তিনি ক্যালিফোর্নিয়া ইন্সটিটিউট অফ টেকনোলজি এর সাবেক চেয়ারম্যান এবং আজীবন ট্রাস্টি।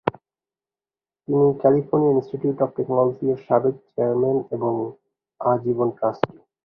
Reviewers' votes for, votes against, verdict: 0, 3, rejected